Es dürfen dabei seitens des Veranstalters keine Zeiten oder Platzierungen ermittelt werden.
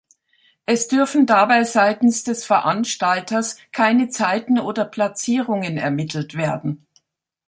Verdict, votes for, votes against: accepted, 2, 0